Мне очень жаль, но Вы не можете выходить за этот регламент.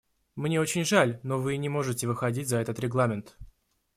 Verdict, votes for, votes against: accepted, 2, 0